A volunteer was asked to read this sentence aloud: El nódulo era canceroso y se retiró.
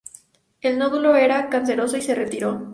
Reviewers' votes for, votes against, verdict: 6, 0, accepted